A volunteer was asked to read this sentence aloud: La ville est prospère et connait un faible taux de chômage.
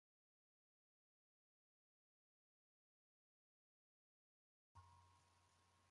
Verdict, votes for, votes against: rejected, 0, 3